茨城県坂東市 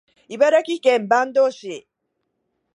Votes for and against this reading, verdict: 2, 0, accepted